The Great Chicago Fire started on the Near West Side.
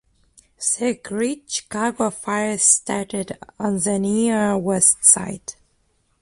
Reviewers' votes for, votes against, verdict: 0, 2, rejected